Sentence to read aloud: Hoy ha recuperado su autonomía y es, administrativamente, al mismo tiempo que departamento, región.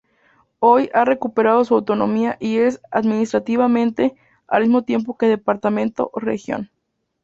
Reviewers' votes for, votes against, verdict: 2, 2, rejected